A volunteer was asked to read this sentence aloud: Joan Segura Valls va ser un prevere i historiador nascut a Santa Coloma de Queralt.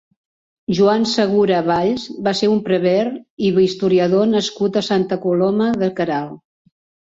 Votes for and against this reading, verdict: 0, 2, rejected